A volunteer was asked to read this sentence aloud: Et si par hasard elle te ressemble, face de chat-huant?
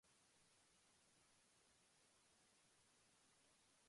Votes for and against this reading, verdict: 0, 2, rejected